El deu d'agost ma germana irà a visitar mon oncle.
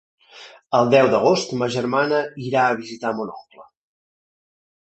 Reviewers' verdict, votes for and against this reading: accepted, 2, 0